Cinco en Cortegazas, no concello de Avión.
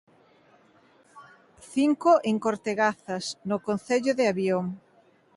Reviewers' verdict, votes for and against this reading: accepted, 3, 0